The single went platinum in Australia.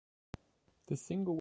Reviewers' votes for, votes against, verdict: 0, 2, rejected